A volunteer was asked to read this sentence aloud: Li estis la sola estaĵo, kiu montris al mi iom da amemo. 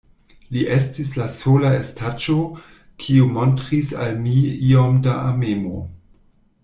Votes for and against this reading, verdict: 0, 2, rejected